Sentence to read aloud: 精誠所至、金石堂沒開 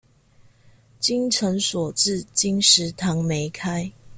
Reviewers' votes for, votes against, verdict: 2, 0, accepted